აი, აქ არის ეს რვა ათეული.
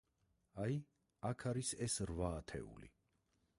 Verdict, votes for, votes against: accepted, 4, 0